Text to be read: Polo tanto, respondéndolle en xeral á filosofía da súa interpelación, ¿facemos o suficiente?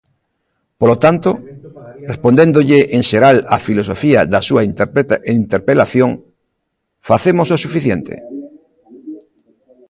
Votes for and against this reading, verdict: 0, 2, rejected